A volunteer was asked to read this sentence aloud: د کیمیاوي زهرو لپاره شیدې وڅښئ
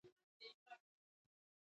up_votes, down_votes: 0, 2